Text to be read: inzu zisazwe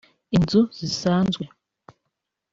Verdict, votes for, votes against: accepted, 2, 1